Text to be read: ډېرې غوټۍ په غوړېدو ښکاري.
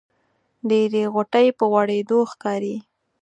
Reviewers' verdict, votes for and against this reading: accepted, 4, 0